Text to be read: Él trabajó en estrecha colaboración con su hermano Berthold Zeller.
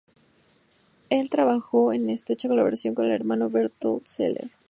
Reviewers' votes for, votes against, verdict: 0, 2, rejected